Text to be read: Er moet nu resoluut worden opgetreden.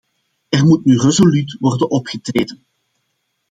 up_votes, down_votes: 2, 0